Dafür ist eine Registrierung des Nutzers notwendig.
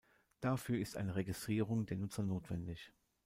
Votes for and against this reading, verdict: 0, 2, rejected